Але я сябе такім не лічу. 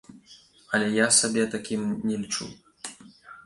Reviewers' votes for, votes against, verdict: 1, 2, rejected